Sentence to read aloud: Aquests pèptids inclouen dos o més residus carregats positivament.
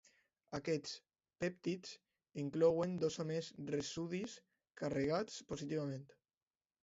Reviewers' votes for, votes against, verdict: 0, 2, rejected